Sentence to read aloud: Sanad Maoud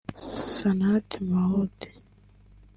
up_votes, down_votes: 1, 2